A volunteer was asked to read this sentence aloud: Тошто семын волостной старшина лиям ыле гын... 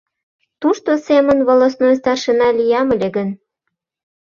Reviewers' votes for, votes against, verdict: 0, 2, rejected